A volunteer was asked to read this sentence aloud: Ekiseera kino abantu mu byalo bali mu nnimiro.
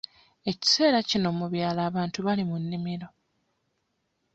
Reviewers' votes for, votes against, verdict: 1, 2, rejected